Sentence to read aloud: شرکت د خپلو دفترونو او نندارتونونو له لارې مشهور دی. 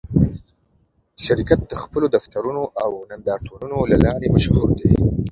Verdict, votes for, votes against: accepted, 2, 0